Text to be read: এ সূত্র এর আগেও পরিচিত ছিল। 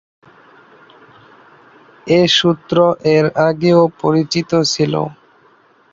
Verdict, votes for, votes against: rejected, 2, 2